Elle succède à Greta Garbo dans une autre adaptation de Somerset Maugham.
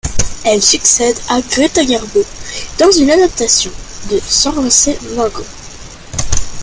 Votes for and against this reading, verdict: 1, 2, rejected